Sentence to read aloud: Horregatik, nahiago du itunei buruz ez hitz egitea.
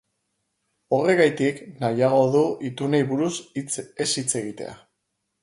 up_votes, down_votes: 2, 4